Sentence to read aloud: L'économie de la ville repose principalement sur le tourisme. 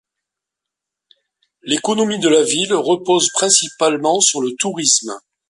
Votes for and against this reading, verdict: 2, 0, accepted